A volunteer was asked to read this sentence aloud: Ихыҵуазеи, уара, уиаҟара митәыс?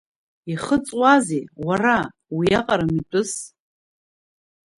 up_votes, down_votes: 1, 2